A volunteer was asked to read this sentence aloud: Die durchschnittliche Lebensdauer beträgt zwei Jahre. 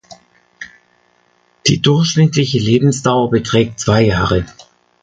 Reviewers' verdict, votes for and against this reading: accepted, 2, 0